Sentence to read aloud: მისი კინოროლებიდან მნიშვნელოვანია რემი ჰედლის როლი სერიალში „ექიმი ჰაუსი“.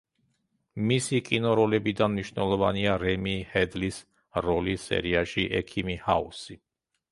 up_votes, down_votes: 1, 2